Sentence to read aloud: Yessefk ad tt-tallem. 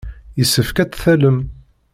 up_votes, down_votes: 1, 2